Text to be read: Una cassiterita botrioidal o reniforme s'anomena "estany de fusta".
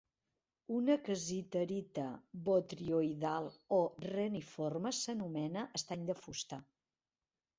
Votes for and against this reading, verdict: 2, 1, accepted